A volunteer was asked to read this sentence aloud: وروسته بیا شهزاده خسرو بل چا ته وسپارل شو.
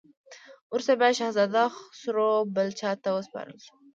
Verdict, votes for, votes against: rejected, 0, 2